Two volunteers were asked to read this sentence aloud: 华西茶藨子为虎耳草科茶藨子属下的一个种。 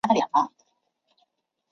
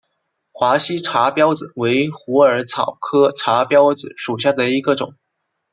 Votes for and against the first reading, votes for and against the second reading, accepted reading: 1, 3, 2, 1, second